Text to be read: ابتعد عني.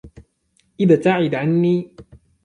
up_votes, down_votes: 2, 0